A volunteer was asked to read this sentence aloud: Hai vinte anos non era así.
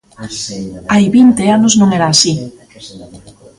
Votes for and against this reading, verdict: 0, 2, rejected